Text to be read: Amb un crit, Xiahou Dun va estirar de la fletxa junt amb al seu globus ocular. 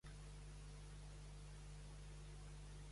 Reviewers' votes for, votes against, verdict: 0, 2, rejected